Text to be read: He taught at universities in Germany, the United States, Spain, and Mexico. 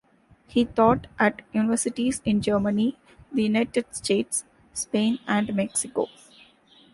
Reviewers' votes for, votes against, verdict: 2, 0, accepted